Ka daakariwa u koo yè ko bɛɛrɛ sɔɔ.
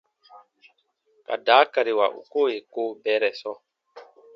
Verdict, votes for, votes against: accepted, 2, 0